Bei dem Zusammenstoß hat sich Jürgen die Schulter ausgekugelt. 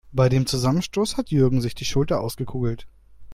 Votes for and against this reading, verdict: 0, 2, rejected